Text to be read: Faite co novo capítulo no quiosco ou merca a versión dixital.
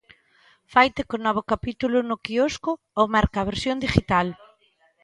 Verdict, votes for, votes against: rejected, 1, 2